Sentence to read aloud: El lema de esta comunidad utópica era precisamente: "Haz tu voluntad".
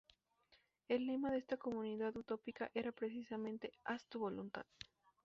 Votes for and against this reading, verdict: 4, 0, accepted